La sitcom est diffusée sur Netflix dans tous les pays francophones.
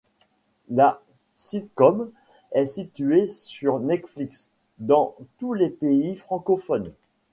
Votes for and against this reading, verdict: 1, 2, rejected